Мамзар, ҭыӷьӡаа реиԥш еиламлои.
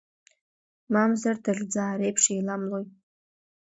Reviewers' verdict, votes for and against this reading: accepted, 2, 1